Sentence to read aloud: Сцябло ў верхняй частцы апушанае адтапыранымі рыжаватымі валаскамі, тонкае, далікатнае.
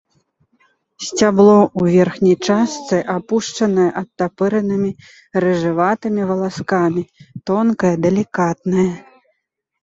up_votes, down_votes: 0, 2